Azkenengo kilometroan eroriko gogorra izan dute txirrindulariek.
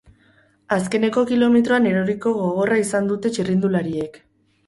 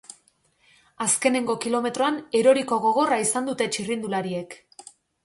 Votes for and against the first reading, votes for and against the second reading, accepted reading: 0, 2, 2, 0, second